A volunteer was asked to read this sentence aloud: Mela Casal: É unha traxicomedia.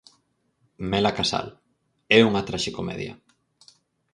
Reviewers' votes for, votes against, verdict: 4, 0, accepted